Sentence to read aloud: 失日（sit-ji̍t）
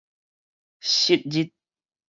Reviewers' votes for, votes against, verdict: 4, 0, accepted